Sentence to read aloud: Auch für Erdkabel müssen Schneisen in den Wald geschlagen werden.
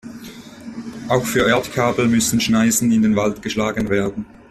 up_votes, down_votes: 2, 0